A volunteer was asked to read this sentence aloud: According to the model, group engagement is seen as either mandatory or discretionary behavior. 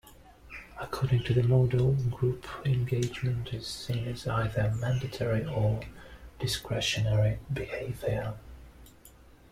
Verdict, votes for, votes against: rejected, 1, 2